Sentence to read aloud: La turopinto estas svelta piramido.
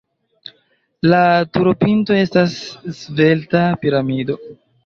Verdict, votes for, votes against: accepted, 2, 0